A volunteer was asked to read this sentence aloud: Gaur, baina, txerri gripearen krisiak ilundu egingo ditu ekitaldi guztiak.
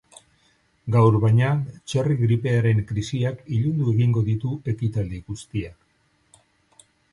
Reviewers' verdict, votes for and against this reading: rejected, 2, 2